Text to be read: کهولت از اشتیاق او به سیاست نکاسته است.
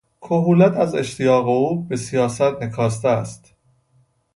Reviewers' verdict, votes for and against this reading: rejected, 0, 2